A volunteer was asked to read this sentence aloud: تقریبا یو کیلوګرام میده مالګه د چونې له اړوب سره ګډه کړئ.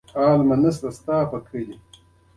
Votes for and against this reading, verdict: 2, 0, accepted